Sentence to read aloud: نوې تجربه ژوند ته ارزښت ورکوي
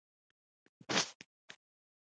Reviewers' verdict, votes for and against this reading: accepted, 2, 1